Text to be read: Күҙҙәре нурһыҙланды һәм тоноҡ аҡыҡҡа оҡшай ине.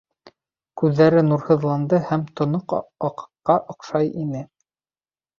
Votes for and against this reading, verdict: 1, 2, rejected